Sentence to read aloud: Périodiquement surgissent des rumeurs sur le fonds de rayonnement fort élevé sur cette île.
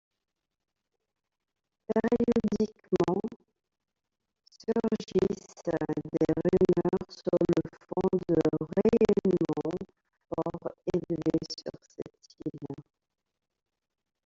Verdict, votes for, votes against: rejected, 1, 2